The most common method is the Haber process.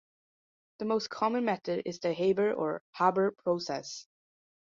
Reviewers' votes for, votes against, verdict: 0, 2, rejected